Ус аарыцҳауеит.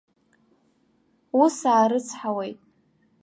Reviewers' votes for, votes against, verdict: 2, 1, accepted